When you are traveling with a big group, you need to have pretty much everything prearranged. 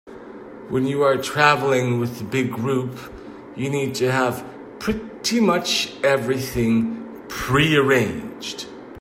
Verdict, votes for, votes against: accepted, 2, 0